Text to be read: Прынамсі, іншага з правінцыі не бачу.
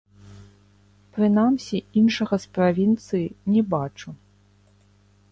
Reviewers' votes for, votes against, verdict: 0, 2, rejected